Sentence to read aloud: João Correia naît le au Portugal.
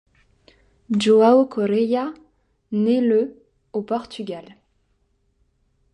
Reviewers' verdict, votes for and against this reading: accepted, 2, 0